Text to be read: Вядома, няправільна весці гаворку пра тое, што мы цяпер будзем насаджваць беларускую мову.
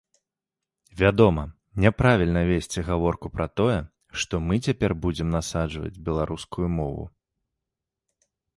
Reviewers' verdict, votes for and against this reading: accepted, 3, 0